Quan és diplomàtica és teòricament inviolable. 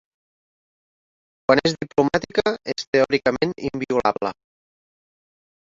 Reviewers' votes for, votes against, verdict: 1, 2, rejected